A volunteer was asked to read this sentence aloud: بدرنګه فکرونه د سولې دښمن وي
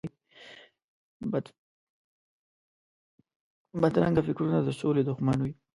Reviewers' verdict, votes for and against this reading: rejected, 1, 2